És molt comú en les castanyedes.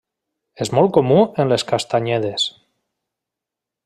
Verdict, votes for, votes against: accepted, 3, 0